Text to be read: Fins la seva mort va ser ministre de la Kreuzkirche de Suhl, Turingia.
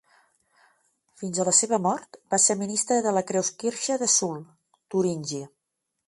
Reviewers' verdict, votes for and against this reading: rejected, 2, 3